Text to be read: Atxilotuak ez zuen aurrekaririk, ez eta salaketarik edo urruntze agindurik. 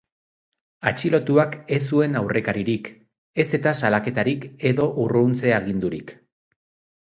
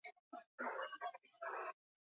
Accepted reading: first